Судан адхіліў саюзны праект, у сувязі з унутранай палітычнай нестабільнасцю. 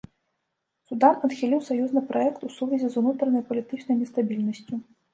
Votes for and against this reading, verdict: 2, 0, accepted